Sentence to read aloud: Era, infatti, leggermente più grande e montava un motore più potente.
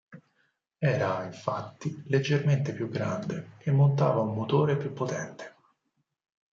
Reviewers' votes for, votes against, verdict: 4, 0, accepted